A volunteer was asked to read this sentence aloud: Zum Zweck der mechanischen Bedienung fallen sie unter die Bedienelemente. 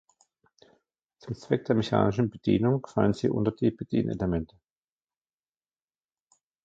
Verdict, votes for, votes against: rejected, 0, 2